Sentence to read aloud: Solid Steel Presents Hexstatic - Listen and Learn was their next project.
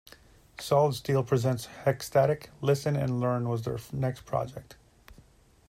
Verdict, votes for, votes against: accepted, 2, 1